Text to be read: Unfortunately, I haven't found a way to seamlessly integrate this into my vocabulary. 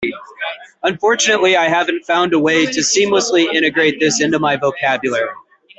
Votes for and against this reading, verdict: 3, 0, accepted